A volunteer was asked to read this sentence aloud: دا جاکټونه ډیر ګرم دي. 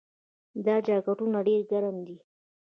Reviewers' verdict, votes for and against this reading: rejected, 1, 2